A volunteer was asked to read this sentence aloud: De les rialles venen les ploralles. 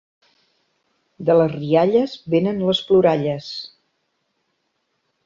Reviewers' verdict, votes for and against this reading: accepted, 3, 0